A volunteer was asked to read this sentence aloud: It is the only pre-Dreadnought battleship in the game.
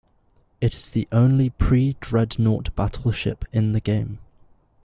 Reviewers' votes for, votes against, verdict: 2, 0, accepted